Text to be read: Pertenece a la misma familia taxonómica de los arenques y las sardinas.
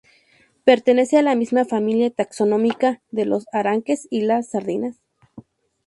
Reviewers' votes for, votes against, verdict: 2, 0, accepted